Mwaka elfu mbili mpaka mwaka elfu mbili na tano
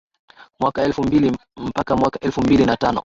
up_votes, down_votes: 2, 0